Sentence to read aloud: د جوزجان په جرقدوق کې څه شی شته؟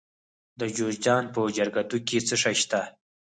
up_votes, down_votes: 4, 0